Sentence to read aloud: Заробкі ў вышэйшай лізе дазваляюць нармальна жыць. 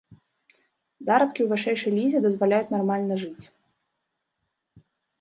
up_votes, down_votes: 0, 2